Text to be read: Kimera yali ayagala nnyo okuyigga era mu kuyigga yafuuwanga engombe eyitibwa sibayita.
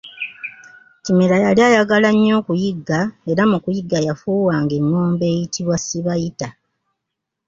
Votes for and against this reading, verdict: 3, 0, accepted